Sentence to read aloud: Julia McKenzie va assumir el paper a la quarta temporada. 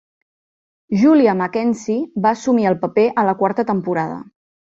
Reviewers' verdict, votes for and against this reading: accepted, 2, 0